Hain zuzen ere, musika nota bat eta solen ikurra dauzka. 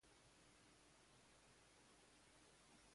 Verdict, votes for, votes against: rejected, 0, 2